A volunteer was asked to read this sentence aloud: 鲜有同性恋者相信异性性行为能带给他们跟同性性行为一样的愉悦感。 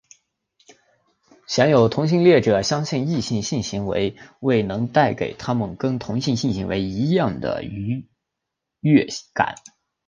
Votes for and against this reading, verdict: 0, 2, rejected